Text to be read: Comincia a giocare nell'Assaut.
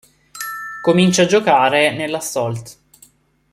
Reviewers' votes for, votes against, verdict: 0, 2, rejected